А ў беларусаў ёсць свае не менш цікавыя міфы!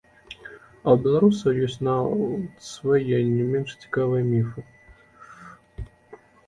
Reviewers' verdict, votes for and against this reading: rejected, 1, 2